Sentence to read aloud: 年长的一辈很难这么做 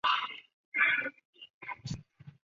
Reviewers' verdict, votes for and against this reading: rejected, 0, 3